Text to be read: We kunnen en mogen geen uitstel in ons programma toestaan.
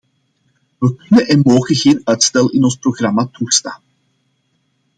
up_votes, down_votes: 2, 0